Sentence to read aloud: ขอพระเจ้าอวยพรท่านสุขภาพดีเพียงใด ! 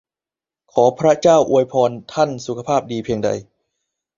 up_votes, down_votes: 0, 2